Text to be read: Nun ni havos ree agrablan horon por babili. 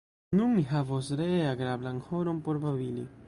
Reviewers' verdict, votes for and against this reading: accepted, 2, 1